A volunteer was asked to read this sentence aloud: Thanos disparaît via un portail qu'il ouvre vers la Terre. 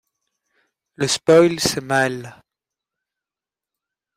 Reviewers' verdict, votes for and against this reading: rejected, 0, 2